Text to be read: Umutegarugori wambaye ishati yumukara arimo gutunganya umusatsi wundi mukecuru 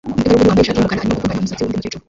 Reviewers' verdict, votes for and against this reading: rejected, 0, 2